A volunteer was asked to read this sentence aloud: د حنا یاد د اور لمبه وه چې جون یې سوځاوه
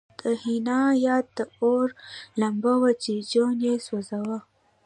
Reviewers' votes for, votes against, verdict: 2, 0, accepted